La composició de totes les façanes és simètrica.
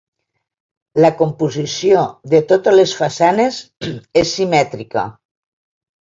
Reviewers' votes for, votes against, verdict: 1, 2, rejected